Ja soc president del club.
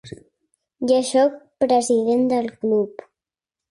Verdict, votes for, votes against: accepted, 2, 0